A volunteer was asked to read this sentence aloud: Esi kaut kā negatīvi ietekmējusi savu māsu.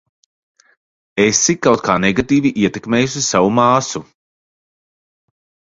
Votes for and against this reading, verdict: 2, 0, accepted